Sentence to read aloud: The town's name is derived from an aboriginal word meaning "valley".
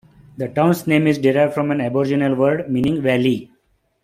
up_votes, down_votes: 2, 0